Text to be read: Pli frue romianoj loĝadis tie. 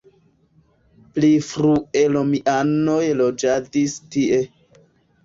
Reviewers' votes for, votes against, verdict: 3, 0, accepted